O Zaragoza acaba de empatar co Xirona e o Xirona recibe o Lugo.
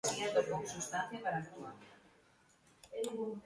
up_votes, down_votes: 0, 3